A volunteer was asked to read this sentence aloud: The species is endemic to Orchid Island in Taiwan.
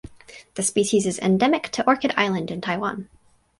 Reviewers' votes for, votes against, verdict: 4, 0, accepted